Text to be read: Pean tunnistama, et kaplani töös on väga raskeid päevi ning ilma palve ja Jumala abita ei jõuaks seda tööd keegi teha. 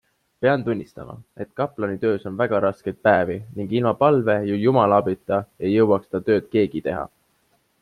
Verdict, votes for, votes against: accepted, 2, 0